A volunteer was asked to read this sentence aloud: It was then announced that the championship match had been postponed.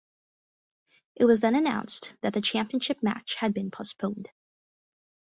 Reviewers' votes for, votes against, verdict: 4, 0, accepted